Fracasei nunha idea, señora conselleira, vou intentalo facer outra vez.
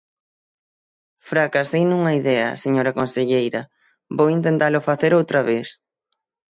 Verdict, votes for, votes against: accepted, 6, 0